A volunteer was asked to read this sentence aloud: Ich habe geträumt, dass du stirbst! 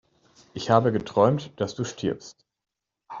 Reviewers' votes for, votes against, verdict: 3, 0, accepted